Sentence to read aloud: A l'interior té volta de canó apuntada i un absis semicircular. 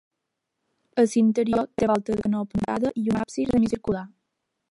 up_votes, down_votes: 0, 2